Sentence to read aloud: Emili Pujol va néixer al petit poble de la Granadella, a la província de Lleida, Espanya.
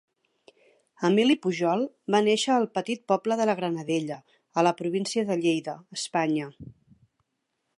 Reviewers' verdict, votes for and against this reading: accepted, 3, 0